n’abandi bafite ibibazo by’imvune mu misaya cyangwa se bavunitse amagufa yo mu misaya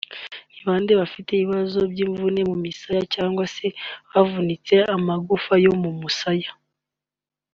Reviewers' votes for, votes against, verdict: 0, 2, rejected